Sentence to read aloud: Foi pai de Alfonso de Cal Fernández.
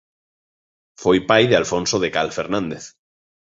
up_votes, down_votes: 2, 0